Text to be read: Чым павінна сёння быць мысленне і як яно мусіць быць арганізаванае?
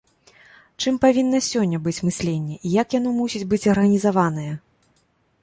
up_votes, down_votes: 0, 2